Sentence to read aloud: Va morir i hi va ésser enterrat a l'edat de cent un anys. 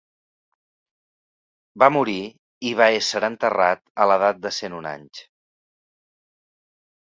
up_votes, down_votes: 2, 0